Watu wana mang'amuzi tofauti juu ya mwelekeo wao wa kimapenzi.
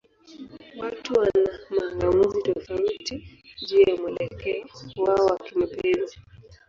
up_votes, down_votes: 10, 7